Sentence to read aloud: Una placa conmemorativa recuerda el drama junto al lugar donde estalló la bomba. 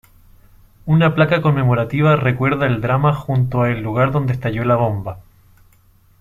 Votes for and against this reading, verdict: 1, 2, rejected